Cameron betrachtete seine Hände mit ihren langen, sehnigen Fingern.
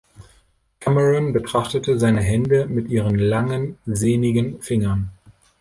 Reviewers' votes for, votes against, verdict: 2, 0, accepted